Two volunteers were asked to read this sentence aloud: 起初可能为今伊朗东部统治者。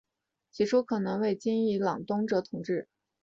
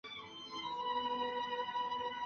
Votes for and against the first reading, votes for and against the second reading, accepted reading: 2, 1, 0, 2, first